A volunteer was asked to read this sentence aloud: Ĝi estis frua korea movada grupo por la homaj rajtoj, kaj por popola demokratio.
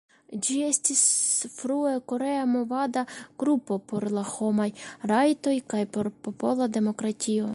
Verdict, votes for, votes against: rejected, 1, 2